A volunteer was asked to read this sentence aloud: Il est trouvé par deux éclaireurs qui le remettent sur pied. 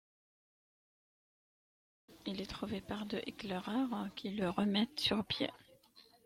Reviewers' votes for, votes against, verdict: 1, 2, rejected